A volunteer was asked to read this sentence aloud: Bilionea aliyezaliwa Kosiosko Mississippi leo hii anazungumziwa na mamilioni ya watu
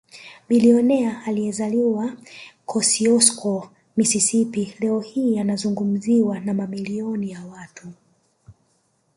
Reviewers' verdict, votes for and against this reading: accepted, 3, 0